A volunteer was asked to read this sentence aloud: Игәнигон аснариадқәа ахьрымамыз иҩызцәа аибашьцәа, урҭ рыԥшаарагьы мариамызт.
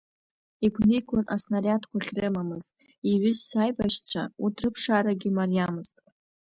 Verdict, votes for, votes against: accepted, 2, 0